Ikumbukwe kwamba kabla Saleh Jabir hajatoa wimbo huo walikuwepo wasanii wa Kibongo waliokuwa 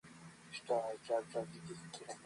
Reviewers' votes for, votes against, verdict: 1, 2, rejected